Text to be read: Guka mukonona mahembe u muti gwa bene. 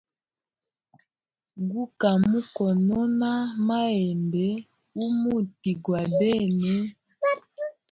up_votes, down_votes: 1, 2